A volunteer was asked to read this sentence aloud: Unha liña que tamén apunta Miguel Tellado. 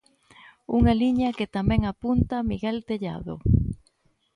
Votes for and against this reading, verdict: 2, 0, accepted